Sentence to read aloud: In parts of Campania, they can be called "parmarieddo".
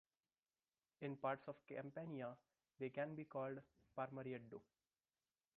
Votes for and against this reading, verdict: 0, 2, rejected